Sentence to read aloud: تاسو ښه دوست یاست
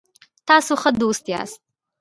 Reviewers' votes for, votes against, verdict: 1, 2, rejected